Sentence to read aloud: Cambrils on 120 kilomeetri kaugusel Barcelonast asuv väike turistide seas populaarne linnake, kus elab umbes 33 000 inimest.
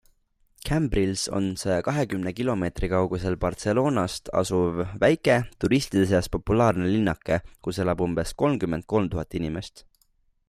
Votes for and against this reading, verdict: 0, 2, rejected